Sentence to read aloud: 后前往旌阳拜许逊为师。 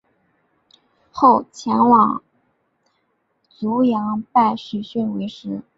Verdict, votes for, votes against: rejected, 1, 2